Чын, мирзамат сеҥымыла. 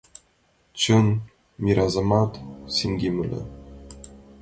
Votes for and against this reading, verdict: 0, 2, rejected